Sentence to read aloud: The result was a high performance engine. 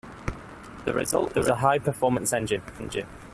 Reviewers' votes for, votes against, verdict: 1, 2, rejected